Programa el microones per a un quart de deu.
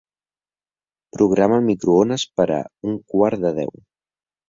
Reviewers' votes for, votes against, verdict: 3, 0, accepted